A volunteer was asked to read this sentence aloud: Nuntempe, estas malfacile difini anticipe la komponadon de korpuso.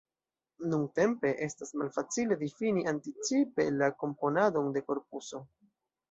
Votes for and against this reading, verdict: 0, 2, rejected